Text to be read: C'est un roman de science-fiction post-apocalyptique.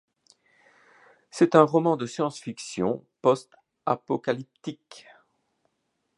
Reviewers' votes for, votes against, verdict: 2, 0, accepted